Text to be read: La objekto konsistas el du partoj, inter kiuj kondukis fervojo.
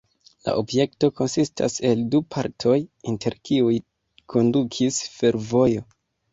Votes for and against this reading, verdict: 1, 2, rejected